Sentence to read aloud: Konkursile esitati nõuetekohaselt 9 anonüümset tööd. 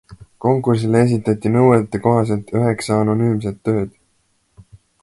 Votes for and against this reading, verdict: 0, 2, rejected